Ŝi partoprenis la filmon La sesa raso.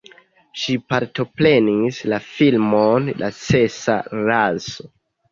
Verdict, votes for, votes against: rejected, 1, 2